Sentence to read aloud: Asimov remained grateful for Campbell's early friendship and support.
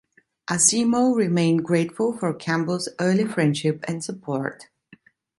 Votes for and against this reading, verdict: 2, 1, accepted